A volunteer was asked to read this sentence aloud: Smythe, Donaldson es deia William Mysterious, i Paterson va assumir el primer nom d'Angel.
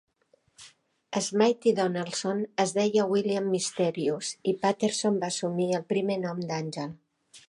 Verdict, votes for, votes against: accepted, 2, 0